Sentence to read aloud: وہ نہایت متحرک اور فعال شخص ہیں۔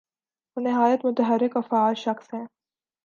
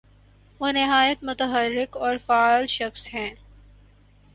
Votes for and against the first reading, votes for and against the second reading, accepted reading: 2, 0, 0, 2, first